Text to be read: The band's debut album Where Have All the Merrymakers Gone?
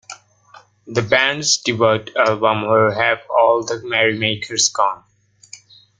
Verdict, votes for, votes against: rejected, 1, 2